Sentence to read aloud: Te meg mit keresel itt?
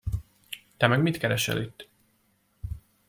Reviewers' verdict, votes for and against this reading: accepted, 2, 1